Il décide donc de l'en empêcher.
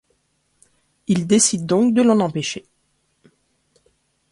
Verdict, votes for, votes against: accepted, 2, 0